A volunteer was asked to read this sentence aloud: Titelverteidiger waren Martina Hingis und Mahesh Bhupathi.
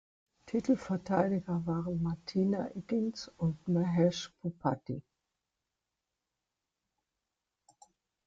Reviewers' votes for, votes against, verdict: 1, 2, rejected